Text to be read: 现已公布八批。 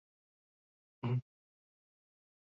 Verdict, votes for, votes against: rejected, 0, 2